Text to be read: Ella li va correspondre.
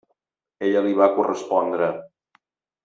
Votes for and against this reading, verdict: 3, 0, accepted